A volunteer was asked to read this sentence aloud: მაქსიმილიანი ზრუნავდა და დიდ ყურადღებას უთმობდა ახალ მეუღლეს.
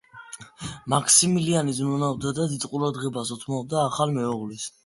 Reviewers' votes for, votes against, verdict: 2, 1, accepted